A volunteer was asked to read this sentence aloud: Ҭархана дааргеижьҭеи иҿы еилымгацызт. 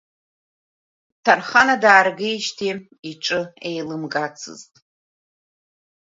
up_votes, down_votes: 2, 0